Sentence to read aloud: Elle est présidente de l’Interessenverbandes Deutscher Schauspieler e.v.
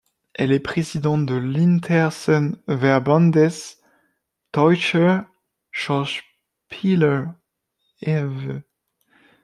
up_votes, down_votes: 1, 2